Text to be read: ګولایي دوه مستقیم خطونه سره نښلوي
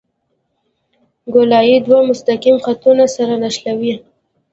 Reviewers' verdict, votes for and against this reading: accepted, 2, 0